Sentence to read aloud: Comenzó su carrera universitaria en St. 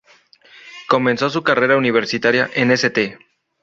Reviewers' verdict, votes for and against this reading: rejected, 0, 2